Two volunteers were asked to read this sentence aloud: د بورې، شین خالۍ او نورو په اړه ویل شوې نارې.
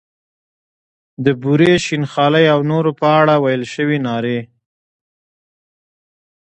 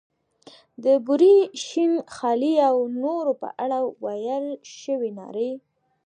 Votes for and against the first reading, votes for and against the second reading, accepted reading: 1, 2, 2, 0, second